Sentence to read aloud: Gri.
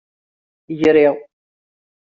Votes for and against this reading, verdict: 2, 0, accepted